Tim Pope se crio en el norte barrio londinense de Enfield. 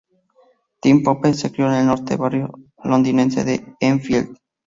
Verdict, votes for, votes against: accepted, 2, 0